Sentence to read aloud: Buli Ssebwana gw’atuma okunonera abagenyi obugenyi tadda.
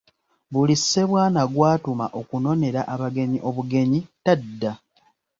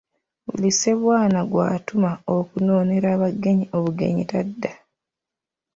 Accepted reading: first